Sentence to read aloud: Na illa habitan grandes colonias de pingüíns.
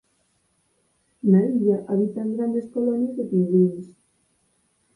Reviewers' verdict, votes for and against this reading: rejected, 0, 4